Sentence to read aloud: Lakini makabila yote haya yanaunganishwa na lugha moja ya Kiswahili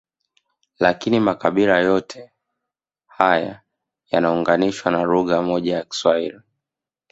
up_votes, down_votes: 1, 2